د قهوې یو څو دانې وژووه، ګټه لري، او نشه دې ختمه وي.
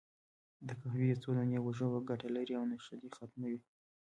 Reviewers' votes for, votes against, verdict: 2, 0, accepted